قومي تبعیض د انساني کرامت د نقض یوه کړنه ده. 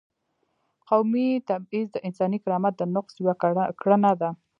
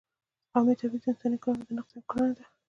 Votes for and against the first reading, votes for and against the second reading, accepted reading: 1, 2, 2, 1, second